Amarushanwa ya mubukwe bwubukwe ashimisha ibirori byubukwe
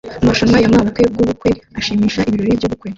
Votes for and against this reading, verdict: 1, 2, rejected